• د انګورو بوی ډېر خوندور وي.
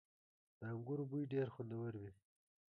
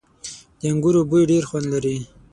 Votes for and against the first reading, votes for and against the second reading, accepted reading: 2, 1, 3, 6, first